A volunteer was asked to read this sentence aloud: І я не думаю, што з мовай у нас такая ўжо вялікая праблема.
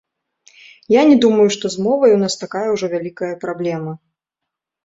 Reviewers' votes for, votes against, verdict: 1, 2, rejected